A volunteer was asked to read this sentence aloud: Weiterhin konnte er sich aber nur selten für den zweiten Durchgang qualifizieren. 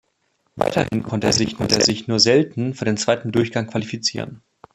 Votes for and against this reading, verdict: 0, 2, rejected